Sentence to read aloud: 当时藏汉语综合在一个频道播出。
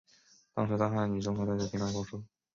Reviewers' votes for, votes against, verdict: 0, 3, rejected